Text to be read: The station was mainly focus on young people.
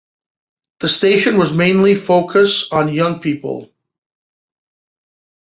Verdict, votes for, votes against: accepted, 2, 0